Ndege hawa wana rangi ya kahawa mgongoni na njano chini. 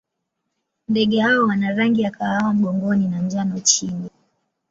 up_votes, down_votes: 2, 0